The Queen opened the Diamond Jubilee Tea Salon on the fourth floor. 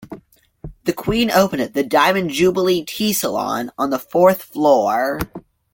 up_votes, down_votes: 1, 2